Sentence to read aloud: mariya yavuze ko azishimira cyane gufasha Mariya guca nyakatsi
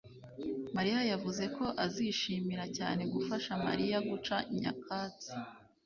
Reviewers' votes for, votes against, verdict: 2, 0, accepted